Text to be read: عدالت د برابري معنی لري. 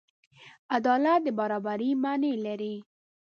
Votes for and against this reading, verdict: 1, 2, rejected